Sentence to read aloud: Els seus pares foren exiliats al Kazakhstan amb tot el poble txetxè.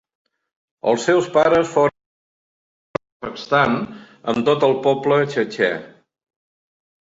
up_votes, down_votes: 0, 2